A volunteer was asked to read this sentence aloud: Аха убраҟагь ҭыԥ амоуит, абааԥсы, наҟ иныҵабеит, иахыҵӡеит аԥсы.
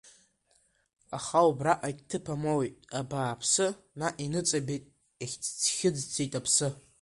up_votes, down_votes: 3, 2